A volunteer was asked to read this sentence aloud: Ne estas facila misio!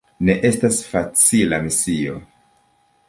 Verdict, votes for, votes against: accepted, 2, 1